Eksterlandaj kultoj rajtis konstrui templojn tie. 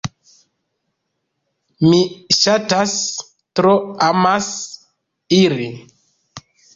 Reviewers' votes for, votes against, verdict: 1, 2, rejected